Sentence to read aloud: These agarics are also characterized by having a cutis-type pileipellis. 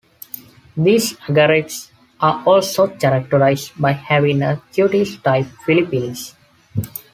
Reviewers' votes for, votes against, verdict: 1, 2, rejected